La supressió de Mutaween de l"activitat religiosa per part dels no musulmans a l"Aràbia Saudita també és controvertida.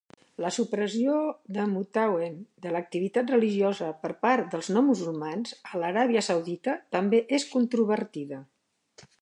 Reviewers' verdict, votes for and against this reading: accepted, 2, 0